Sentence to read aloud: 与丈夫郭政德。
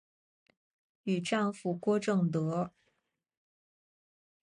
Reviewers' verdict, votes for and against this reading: accepted, 3, 0